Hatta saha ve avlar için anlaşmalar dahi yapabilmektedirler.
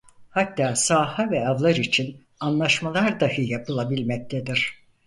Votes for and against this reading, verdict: 2, 4, rejected